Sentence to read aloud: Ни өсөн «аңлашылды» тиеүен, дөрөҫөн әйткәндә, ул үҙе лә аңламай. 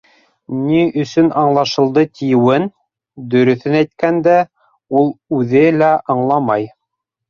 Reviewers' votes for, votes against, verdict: 3, 0, accepted